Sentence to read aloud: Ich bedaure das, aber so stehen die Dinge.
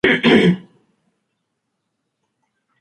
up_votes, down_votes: 0, 2